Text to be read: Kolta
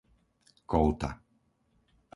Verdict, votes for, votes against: accepted, 4, 0